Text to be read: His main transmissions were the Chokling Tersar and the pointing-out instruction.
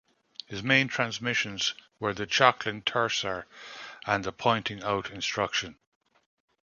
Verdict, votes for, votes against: accepted, 2, 0